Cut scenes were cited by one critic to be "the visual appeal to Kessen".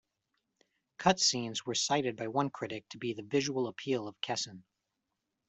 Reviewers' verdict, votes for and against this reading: accepted, 2, 0